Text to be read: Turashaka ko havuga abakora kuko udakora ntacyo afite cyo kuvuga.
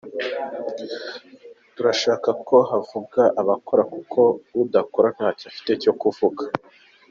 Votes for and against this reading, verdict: 2, 0, accepted